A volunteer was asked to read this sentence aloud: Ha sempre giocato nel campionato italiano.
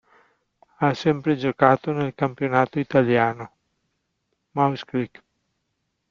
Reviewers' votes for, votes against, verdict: 0, 2, rejected